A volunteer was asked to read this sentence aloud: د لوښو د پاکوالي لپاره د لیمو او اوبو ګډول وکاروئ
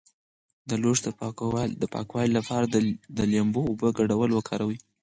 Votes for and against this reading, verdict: 2, 4, rejected